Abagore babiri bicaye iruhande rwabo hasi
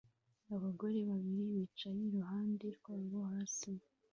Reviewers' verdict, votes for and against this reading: rejected, 0, 2